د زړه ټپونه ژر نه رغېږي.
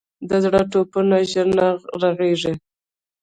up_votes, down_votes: 1, 2